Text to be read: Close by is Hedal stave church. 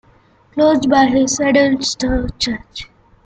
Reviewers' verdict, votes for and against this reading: rejected, 0, 2